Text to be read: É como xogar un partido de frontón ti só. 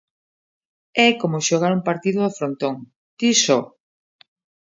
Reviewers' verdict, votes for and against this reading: rejected, 1, 2